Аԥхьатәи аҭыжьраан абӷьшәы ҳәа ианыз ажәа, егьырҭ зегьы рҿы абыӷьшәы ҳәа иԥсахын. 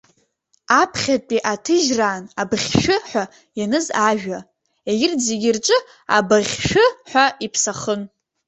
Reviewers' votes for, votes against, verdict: 1, 2, rejected